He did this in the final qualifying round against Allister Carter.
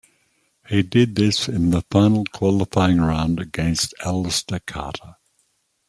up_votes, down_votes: 2, 0